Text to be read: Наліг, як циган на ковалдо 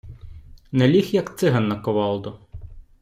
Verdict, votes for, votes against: accepted, 2, 0